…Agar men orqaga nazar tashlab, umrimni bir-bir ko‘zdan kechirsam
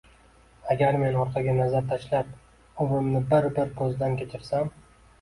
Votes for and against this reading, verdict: 2, 0, accepted